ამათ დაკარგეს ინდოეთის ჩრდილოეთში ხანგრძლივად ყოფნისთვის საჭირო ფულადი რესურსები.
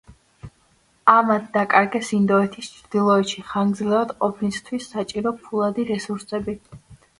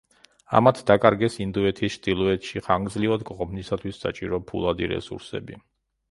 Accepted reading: first